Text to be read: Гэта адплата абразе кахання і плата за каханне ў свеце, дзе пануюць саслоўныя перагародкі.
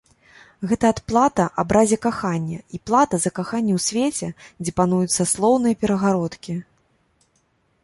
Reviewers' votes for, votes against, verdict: 2, 0, accepted